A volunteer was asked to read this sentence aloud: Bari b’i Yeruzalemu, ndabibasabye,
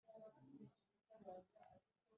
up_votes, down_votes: 1, 2